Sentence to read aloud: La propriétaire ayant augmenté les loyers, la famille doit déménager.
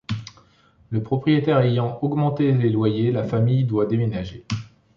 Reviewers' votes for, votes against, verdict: 1, 2, rejected